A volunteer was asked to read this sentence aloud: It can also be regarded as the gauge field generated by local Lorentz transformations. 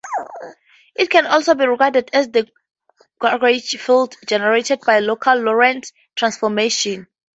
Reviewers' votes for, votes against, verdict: 0, 2, rejected